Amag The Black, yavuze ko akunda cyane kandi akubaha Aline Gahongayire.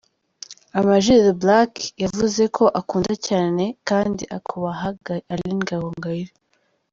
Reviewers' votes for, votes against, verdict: 2, 0, accepted